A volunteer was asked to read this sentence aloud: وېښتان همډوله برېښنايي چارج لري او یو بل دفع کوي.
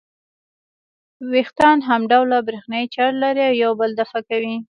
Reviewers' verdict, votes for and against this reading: rejected, 1, 2